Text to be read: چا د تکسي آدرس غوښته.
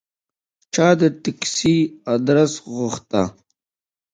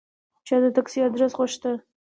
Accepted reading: second